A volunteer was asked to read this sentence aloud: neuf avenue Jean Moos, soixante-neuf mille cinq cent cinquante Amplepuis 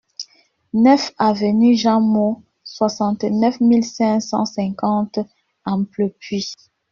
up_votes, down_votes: 2, 0